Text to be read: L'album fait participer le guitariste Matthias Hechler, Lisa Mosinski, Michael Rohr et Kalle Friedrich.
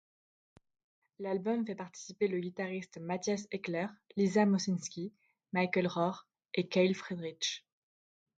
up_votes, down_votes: 0, 2